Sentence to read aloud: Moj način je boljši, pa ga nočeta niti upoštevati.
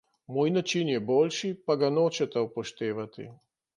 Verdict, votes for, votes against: rejected, 1, 2